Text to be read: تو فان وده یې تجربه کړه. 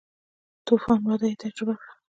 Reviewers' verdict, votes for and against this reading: rejected, 0, 2